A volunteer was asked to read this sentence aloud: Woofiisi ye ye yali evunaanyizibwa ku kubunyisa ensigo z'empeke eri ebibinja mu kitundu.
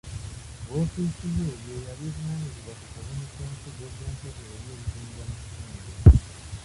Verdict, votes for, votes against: rejected, 0, 2